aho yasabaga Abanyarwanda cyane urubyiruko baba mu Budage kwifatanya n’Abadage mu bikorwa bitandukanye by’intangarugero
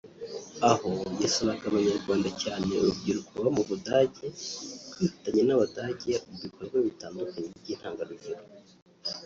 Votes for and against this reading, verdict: 3, 3, rejected